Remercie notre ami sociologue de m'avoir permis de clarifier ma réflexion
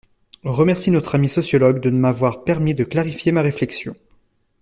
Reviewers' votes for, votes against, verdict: 0, 2, rejected